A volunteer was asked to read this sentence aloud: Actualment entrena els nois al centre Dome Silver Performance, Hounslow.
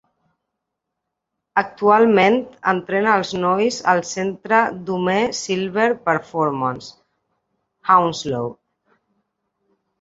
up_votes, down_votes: 2, 1